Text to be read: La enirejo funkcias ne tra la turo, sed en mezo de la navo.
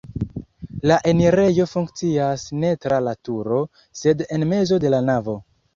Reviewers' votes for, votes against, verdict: 2, 1, accepted